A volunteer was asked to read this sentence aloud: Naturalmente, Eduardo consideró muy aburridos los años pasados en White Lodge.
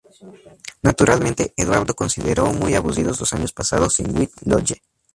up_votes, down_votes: 0, 4